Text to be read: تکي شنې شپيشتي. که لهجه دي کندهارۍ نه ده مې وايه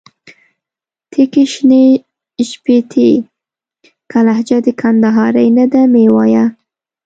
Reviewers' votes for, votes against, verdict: 0, 2, rejected